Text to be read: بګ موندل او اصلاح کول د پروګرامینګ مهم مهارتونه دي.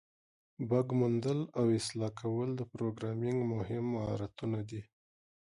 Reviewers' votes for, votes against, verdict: 2, 0, accepted